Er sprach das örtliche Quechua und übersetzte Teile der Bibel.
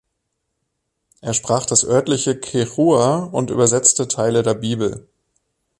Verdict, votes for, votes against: accepted, 3, 0